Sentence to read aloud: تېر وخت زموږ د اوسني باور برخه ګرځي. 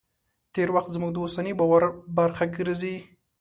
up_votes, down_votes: 2, 0